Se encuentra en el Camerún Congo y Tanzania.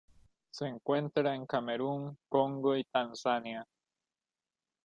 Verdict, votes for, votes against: rejected, 1, 2